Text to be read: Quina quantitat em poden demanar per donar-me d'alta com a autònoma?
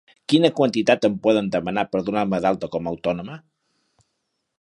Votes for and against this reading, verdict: 2, 0, accepted